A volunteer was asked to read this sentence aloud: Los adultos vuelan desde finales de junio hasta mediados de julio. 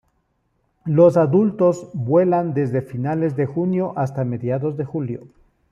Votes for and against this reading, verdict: 2, 0, accepted